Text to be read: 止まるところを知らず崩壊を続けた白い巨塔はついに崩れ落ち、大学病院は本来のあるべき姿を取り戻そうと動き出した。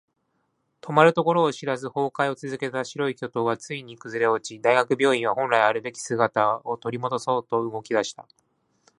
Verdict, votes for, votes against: accepted, 2, 0